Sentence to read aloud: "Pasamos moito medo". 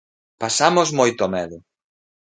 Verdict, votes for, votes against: accepted, 3, 0